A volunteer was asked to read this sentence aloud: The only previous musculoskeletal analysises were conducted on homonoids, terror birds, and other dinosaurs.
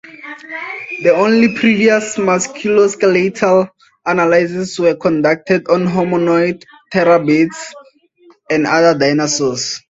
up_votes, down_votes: 2, 0